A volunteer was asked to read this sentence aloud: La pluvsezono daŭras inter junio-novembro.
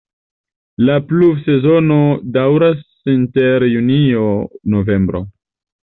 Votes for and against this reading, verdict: 2, 0, accepted